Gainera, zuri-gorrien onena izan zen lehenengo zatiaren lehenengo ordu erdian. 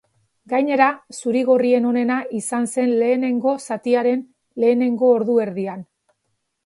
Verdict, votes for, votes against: accepted, 2, 0